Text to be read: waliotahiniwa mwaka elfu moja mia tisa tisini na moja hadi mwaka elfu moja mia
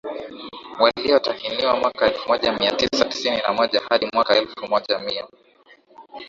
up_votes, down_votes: 2, 1